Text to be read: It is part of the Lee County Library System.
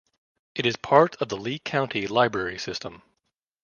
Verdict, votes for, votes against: accepted, 2, 0